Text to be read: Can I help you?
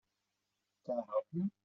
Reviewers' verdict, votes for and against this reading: rejected, 2, 3